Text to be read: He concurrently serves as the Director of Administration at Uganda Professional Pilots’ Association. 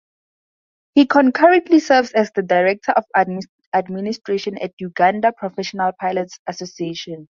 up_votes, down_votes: 0, 2